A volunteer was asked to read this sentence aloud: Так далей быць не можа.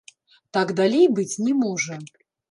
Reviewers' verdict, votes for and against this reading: rejected, 1, 2